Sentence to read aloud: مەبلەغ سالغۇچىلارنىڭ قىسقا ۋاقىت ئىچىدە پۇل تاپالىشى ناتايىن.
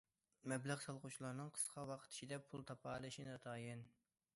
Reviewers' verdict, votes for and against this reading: accepted, 2, 1